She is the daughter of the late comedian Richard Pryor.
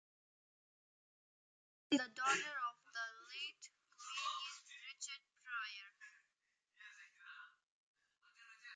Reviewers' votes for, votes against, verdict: 0, 2, rejected